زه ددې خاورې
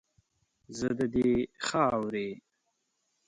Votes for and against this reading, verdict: 1, 2, rejected